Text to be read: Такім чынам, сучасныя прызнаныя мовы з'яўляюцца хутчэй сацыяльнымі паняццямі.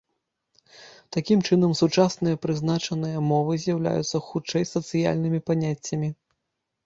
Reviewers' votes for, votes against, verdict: 0, 2, rejected